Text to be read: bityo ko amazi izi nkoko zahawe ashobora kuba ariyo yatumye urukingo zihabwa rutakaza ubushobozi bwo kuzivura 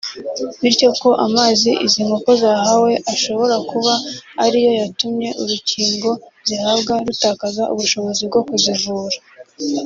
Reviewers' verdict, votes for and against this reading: accepted, 2, 0